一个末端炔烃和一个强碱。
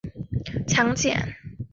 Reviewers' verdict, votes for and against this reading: rejected, 0, 2